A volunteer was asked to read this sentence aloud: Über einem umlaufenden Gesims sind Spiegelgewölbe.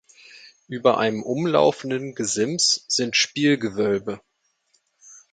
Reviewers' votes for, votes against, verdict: 1, 2, rejected